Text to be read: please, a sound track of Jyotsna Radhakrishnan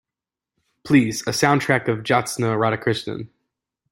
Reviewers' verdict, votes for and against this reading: accepted, 2, 0